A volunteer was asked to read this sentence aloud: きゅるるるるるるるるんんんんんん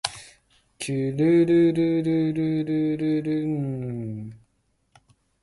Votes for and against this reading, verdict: 1, 2, rejected